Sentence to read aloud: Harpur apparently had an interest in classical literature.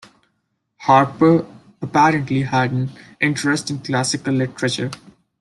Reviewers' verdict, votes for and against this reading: accepted, 2, 0